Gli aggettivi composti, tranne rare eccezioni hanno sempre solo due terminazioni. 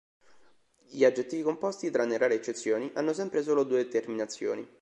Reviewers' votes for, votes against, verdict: 2, 0, accepted